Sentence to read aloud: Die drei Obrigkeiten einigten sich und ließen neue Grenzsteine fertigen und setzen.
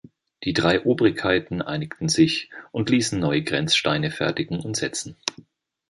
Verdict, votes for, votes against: accepted, 2, 0